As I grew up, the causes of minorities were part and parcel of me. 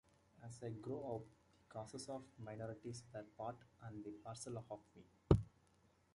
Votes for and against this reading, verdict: 0, 2, rejected